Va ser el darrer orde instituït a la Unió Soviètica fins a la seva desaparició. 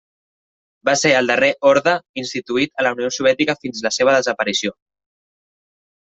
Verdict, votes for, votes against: accepted, 2, 1